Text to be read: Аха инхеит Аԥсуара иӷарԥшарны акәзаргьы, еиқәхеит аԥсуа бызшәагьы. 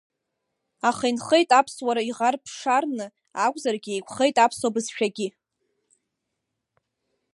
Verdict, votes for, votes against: rejected, 1, 2